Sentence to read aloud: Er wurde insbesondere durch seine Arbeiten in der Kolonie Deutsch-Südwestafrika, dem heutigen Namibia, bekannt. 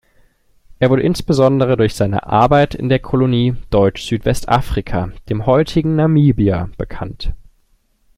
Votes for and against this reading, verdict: 0, 2, rejected